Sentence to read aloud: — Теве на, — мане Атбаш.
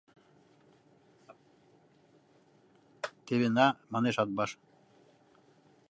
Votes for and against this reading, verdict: 0, 2, rejected